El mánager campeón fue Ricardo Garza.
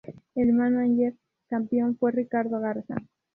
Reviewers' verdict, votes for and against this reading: rejected, 0, 2